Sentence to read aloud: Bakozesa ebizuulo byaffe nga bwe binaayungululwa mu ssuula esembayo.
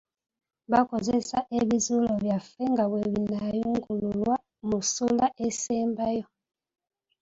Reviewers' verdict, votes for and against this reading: accepted, 2, 0